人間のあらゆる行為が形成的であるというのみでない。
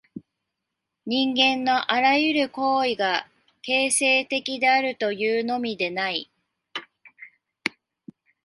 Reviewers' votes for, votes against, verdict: 2, 0, accepted